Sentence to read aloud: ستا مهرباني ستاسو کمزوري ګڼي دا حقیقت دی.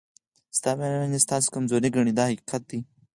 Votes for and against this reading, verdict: 4, 2, accepted